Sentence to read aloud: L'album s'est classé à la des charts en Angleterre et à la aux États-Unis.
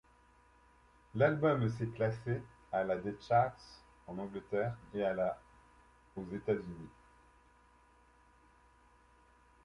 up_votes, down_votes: 2, 0